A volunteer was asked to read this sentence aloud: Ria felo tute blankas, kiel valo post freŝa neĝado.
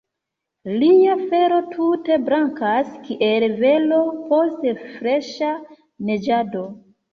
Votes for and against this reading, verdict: 0, 2, rejected